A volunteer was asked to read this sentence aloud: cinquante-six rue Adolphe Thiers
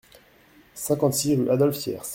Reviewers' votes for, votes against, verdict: 1, 2, rejected